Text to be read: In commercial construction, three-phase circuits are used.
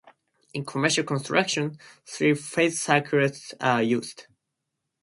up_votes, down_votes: 2, 2